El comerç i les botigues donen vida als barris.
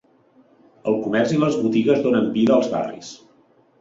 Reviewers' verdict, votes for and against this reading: accepted, 3, 0